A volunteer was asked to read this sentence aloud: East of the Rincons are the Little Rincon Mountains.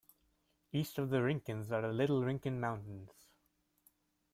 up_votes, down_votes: 2, 0